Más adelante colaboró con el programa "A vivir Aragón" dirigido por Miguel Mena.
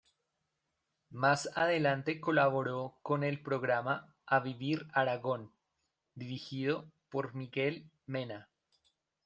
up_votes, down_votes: 1, 2